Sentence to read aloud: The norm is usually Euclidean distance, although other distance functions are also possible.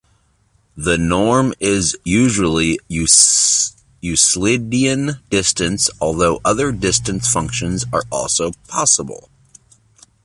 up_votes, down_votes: 1, 2